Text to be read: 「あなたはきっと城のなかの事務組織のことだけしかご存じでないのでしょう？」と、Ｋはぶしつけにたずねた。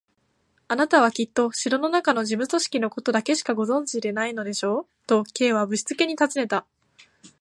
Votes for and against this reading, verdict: 2, 0, accepted